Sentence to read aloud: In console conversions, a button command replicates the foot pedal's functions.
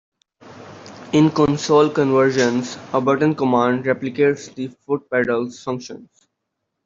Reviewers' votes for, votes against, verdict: 2, 1, accepted